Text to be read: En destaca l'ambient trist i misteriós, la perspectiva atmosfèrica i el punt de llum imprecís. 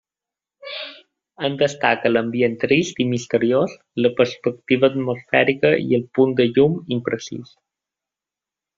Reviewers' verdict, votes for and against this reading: accepted, 3, 1